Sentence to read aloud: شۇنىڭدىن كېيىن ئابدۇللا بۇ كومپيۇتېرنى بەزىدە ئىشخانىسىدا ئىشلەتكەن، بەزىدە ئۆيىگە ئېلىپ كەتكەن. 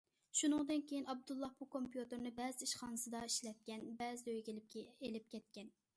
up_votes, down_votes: 1, 2